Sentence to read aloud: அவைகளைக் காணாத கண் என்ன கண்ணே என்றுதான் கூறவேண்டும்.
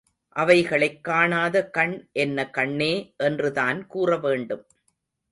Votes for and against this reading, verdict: 2, 0, accepted